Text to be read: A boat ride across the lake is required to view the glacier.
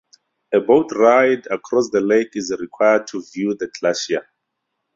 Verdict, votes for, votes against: rejected, 2, 4